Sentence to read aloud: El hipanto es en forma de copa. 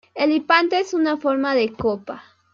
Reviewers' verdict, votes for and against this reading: accepted, 2, 0